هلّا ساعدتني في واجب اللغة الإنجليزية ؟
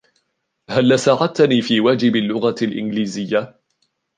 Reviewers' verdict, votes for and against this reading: accepted, 2, 0